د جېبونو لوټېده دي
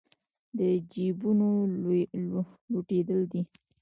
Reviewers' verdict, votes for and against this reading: rejected, 0, 2